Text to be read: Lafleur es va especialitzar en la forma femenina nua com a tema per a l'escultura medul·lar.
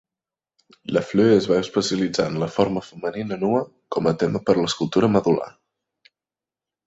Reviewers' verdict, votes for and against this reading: rejected, 1, 2